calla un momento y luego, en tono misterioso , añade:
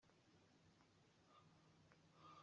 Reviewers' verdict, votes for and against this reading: rejected, 0, 2